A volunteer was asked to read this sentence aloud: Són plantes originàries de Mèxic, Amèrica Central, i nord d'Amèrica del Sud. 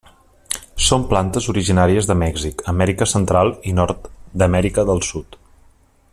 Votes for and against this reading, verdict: 3, 0, accepted